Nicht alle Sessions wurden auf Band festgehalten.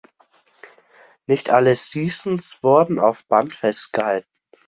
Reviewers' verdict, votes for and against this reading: rejected, 0, 2